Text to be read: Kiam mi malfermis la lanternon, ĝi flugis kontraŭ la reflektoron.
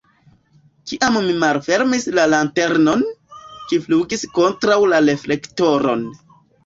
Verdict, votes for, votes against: accepted, 2, 0